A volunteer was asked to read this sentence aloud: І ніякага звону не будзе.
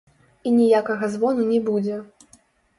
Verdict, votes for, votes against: rejected, 1, 2